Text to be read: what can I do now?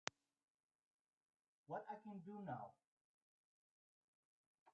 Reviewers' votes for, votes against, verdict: 0, 2, rejected